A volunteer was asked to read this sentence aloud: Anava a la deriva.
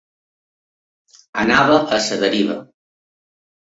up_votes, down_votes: 3, 2